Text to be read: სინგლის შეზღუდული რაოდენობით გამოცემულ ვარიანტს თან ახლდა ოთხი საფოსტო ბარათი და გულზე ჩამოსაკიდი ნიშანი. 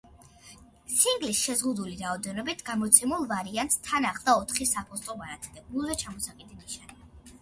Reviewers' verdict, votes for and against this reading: accepted, 2, 1